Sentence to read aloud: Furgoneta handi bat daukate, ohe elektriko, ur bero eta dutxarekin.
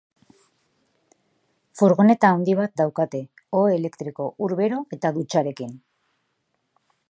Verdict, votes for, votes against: rejected, 1, 2